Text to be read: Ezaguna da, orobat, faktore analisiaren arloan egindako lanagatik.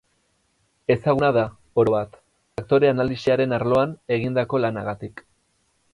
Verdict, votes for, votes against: rejected, 2, 2